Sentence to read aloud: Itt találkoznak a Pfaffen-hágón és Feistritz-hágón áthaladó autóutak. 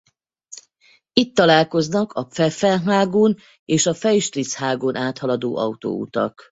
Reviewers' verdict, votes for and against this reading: rejected, 0, 4